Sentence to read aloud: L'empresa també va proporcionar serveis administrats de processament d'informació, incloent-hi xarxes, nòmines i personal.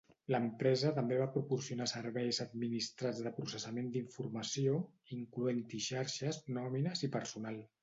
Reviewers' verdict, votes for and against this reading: accepted, 3, 0